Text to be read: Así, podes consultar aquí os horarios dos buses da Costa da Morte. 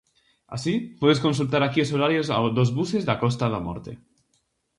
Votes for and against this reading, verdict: 0, 4, rejected